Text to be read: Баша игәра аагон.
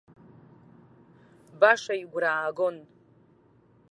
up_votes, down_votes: 2, 0